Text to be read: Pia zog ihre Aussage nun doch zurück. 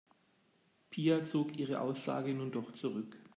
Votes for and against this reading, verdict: 2, 0, accepted